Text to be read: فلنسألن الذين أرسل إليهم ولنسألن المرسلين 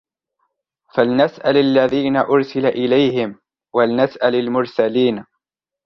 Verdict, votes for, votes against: rejected, 1, 2